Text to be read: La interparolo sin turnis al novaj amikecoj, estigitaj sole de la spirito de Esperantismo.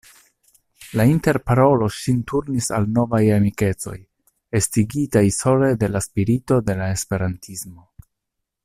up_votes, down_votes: 1, 2